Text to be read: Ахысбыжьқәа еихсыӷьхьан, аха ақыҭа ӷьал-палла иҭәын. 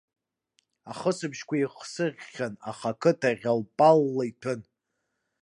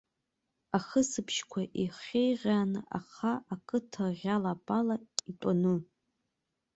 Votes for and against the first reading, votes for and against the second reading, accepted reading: 2, 1, 1, 2, first